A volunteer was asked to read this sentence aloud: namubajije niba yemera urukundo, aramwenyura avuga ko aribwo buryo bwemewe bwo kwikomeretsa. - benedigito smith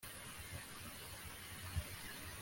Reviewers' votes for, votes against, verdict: 1, 2, rejected